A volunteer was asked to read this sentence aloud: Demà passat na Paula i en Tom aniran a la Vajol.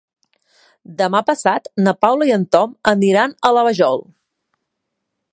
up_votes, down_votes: 5, 0